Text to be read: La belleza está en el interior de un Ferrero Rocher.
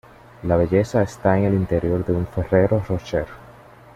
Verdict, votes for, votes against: accepted, 2, 0